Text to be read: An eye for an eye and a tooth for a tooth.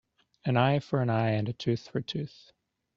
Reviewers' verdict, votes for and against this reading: accepted, 2, 0